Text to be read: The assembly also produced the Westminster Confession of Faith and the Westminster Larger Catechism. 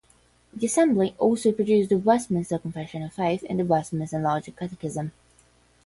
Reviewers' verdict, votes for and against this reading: rejected, 0, 5